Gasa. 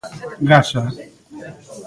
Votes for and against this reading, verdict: 2, 1, accepted